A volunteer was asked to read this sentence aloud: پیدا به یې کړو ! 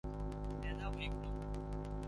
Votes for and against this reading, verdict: 2, 3, rejected